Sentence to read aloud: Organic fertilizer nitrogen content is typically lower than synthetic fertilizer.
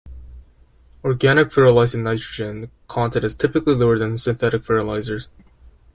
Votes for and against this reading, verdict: 0, 2, rejected